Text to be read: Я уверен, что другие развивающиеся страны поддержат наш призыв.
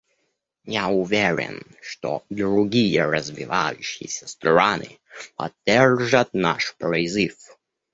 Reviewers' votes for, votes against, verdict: 0, 2, rejected